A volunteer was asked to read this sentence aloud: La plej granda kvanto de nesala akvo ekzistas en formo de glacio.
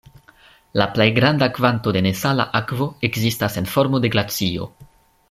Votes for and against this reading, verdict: 2, 0, accepted